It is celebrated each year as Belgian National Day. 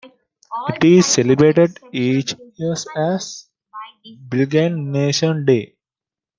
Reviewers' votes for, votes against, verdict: 0, 2, rejected